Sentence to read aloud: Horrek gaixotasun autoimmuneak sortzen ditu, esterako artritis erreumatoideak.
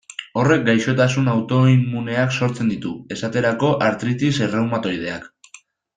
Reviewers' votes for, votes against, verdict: 2, 0, accepted